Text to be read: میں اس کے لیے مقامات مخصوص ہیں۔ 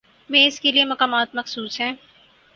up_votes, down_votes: 6, 0